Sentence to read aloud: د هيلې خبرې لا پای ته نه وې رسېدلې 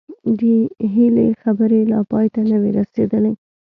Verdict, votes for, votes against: accepted, 2, 0